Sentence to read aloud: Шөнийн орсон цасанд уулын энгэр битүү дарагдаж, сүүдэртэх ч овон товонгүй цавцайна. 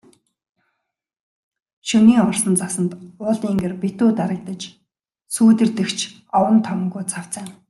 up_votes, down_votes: 2, 0